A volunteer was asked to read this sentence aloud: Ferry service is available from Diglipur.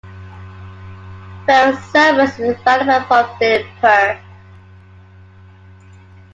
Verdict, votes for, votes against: accepted, 2, 1